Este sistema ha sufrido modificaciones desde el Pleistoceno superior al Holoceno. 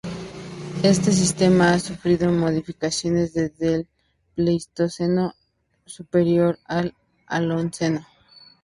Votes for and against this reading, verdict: 0, 2, rejected